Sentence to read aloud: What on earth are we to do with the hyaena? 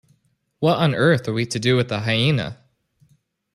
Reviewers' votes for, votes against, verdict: 2, 0, accepted